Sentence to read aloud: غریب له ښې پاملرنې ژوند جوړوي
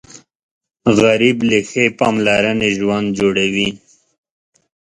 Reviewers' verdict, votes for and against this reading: accepted, 2, 0